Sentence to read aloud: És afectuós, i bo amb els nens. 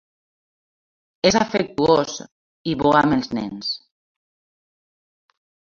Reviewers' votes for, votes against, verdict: 0, 2, rejected